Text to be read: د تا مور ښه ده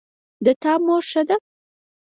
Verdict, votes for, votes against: accepted, 6, 0